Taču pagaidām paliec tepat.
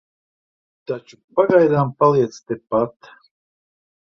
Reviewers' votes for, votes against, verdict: 1, 2, rejected